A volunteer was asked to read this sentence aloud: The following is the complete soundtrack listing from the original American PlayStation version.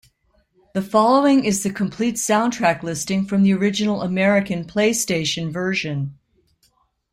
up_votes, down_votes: 2, 0